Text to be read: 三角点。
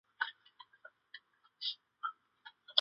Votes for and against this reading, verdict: 0, 2, rejected